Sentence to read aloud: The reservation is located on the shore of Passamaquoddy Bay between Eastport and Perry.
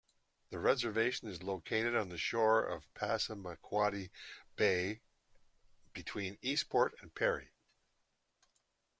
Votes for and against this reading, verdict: 2, 0, accepted